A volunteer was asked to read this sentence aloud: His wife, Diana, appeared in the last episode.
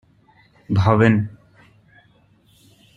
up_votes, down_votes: 0, 2